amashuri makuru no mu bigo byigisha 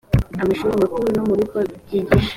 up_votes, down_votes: 2, 0